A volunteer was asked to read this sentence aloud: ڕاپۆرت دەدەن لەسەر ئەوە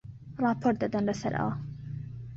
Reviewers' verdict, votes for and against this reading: accepted, 2, 0